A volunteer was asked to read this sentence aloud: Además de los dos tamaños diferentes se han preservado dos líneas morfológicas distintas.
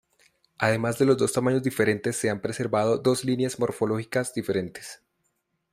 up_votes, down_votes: 0, 2